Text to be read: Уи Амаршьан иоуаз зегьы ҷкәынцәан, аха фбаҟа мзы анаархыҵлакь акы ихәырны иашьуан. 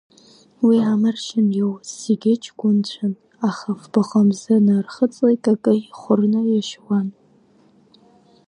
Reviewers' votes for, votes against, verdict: 1, 2, rejected